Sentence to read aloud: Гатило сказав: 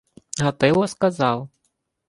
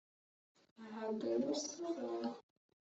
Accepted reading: first